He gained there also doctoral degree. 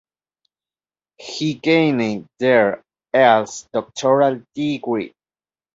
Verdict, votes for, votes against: rejected, 0, 2